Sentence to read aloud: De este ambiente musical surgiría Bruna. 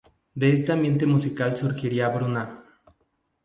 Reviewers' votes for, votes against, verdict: 2, 0, accepted